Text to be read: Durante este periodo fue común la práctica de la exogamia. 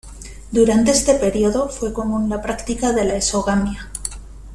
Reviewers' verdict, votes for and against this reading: accepted, 2, 0